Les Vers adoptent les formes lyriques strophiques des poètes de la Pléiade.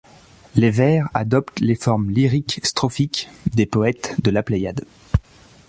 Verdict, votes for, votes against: accepted, 3, 0